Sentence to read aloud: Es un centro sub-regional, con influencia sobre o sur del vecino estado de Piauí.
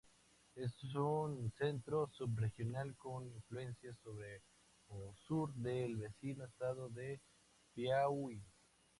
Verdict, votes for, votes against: rejected, 2, 2